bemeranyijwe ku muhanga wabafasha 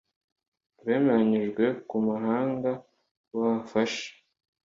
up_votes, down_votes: 2, 1